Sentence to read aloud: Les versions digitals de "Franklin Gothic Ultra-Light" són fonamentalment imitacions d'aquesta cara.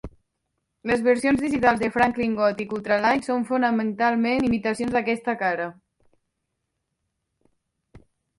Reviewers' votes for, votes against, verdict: 2, 1, accepted